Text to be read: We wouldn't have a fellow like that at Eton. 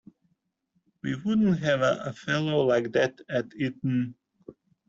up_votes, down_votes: 2, 0